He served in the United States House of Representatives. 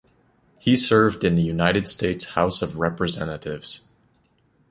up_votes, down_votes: 2, 0